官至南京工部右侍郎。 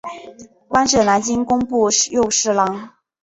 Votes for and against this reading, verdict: 6, 1, accepted